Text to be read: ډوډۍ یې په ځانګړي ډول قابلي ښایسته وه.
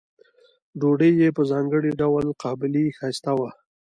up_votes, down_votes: 2, 1